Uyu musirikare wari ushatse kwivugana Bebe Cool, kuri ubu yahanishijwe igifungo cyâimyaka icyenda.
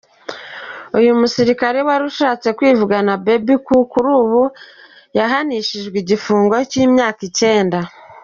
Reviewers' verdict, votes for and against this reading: rejected, 0, 2